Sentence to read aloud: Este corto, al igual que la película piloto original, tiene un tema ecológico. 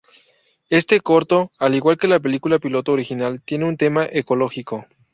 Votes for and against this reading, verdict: 2, 0, accepted